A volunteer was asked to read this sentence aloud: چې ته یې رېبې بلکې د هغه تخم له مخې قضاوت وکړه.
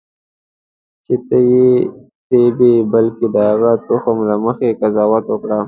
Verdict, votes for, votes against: accepted, 2, 1